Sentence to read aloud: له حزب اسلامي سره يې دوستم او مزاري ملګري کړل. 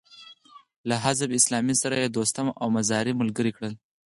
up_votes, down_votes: 0, 4